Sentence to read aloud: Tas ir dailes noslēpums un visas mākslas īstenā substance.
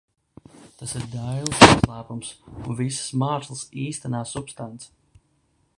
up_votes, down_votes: 0, 2